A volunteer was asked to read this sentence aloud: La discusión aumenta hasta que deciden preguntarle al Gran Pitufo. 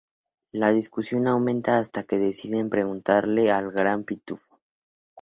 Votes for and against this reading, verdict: 2, 0, accepted